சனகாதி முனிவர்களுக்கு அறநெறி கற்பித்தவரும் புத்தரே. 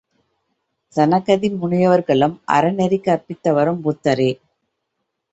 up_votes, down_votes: 0, 2